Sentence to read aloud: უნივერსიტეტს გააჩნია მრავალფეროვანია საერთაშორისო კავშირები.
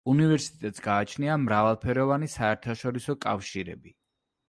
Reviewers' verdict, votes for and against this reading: rejected, 0, 2